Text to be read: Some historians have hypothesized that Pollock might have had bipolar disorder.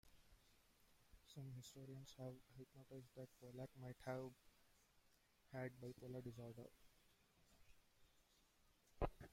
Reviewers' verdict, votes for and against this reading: rejected, 0, 2